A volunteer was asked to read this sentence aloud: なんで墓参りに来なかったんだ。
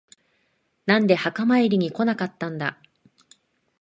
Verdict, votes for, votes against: accepted, 2, 0